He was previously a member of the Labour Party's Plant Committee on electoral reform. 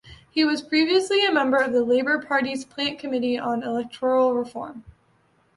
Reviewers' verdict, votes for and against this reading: accepted, 2, 1